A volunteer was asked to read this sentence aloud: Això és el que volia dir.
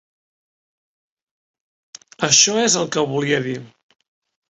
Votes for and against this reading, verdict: 3, 0, accepted